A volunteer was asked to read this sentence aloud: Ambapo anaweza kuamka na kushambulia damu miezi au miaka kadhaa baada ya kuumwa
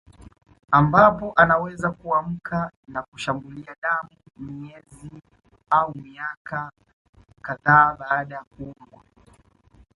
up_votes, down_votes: 1, 2